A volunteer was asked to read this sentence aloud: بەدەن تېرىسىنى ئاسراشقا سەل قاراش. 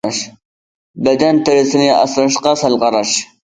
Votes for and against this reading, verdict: 0, 2, rejected